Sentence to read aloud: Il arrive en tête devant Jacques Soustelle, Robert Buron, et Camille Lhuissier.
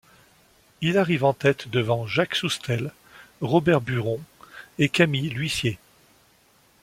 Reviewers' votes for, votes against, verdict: 2, 0, accepted